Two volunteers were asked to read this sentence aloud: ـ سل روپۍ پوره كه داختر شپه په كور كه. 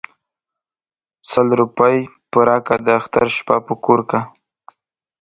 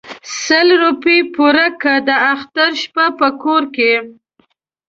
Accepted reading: first